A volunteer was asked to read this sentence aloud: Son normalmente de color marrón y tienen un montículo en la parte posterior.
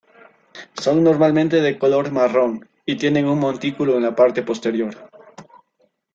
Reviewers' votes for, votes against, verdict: 2, 0, accepted